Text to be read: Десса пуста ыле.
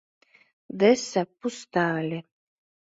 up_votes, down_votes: 2, 0